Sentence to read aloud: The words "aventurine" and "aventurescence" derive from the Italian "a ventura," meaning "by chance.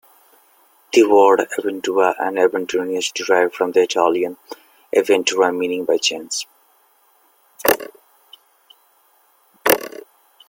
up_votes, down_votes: 1, 2